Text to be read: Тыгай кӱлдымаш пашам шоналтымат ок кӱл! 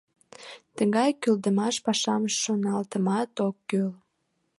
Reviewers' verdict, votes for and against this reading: accepted, 2, 0